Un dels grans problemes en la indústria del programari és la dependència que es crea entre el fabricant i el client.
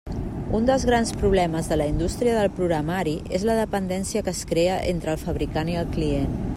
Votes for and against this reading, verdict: 0, 2, rejected